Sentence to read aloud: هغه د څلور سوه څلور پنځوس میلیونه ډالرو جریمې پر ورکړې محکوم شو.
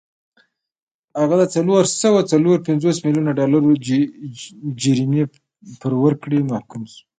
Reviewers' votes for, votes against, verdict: 0, 2, rejected